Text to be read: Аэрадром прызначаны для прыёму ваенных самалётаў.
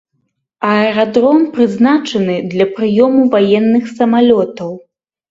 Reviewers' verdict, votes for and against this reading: accepted, 2, 0